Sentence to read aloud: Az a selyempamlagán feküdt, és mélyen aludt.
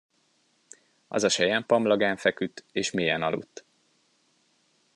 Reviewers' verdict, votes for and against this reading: accepted, 2, 0